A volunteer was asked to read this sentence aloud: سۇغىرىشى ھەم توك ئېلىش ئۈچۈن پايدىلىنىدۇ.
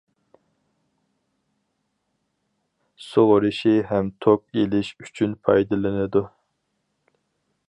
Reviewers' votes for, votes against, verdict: 4, 0, accepted